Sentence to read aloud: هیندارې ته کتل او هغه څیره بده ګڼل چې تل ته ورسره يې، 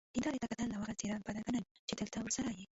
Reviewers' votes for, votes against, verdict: 0, 2, rejected